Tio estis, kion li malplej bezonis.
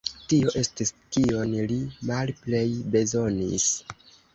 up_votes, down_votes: 0, 2